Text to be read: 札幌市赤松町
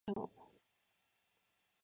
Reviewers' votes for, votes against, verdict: 1, 3, rejected